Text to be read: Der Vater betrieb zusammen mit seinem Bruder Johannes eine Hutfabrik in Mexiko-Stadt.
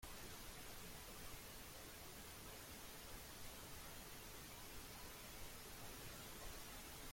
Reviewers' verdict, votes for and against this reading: rejected, 0, 2